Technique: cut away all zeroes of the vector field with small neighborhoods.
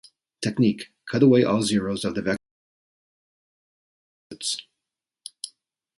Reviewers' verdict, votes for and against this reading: rejected, 0, 2